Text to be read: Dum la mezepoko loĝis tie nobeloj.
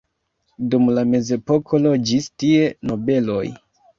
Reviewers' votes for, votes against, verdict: 2, 0, accepted